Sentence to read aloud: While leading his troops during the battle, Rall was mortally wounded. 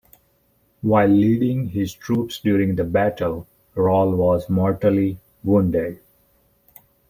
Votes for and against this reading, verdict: 2, 0, accepted